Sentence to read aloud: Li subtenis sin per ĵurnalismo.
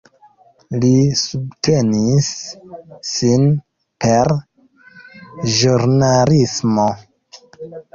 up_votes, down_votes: 2, 0